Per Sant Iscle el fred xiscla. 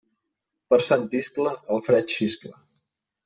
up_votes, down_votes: 2, 0